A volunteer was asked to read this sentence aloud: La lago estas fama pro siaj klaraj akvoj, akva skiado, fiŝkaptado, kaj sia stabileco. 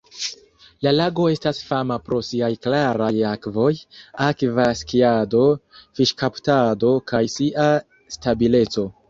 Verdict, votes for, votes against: accepted, 2, 1